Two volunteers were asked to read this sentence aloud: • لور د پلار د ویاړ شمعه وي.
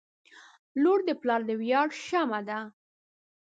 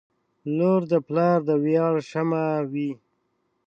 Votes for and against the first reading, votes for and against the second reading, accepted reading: 1, 2, 4, 0, second